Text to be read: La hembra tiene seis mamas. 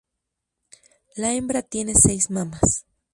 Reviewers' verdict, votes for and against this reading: accepted, 4, 0